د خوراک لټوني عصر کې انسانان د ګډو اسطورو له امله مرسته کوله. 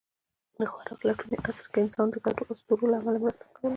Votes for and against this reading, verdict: 0, 2, rejected